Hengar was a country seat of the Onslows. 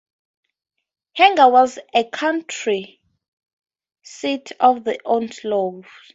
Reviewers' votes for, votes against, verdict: 2, 2, rejected